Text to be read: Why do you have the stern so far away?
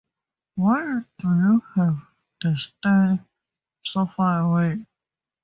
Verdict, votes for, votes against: rejected, 0, 4